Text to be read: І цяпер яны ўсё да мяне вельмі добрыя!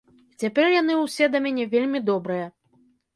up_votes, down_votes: 1, 2